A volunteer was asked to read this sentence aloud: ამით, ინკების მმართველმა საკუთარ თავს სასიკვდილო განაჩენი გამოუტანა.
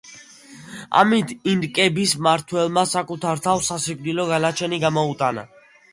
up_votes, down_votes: 2, 0